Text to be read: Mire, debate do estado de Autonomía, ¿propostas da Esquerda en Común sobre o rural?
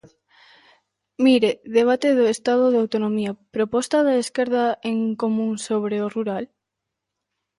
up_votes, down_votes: 1, 2